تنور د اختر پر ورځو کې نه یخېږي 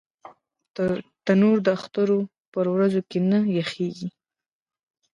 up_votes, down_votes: 1, 2